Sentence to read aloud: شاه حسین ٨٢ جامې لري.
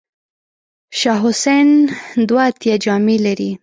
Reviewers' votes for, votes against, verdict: 0, 2, rejected